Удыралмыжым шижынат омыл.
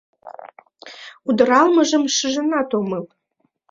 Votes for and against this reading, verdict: 1, 2, rejected